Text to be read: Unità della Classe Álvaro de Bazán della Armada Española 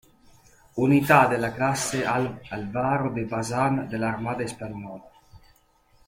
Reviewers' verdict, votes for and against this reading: rejected, 1, 2